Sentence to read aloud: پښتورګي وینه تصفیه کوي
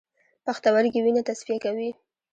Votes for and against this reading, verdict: 2, 1, accepted